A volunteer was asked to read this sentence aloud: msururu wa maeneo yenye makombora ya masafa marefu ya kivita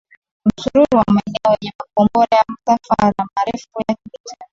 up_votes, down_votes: 0, 2